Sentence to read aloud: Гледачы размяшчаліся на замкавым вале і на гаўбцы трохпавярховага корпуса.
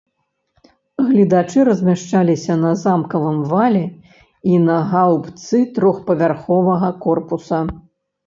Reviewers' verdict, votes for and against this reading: accepted, 2, 0